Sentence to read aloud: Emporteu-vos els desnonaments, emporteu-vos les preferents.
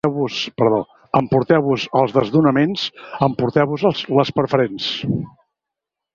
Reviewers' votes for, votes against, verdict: 0, 2, rejected